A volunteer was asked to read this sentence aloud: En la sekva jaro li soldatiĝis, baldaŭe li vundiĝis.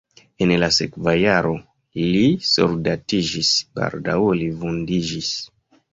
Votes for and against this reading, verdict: 2, 0, accepted